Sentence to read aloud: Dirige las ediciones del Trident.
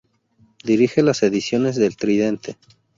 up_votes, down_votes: 0, 2